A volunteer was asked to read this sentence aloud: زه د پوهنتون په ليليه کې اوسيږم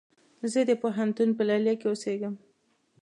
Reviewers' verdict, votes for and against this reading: accepted, 2, 0